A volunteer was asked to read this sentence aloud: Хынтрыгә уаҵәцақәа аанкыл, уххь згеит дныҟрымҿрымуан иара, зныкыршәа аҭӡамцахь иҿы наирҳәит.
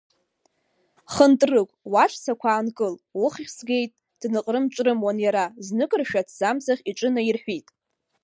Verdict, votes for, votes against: rejected, 1, 2